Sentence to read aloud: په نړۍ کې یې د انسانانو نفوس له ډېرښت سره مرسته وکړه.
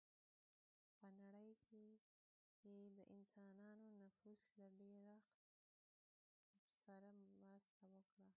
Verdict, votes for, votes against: rejected, 0, 2